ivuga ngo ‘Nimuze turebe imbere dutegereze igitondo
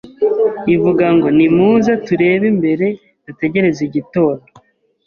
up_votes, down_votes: 2, 0